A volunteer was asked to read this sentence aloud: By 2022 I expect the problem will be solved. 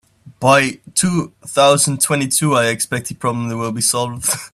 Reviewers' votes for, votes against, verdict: 0, 2, rejected